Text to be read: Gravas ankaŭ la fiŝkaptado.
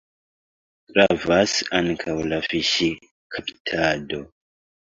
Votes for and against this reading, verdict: 2, 1, accepted